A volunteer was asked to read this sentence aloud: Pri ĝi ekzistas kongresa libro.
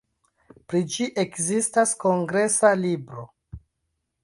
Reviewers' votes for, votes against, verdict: 2, 1, accepted